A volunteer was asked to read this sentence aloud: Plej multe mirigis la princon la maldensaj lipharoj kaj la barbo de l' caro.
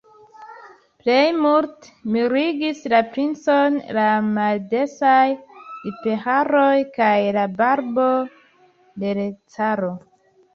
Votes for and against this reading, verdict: 0, 2, rejected